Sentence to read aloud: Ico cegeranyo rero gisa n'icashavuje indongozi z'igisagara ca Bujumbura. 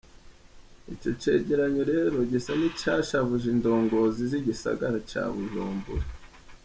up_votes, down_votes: 1, 3